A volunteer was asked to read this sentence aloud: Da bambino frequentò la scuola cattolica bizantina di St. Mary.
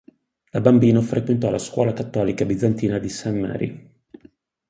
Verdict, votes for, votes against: accepted, 4, 0